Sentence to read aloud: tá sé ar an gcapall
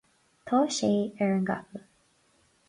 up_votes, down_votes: 4, 2